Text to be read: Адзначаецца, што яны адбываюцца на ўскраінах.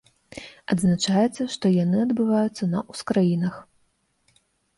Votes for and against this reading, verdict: 0, 2, rejected